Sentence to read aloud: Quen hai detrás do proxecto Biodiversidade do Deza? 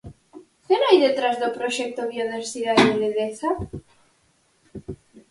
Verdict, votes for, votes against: rejected, 2, 4